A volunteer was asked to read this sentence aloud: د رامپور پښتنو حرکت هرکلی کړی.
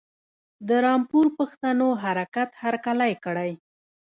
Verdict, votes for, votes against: rejected, 1, 2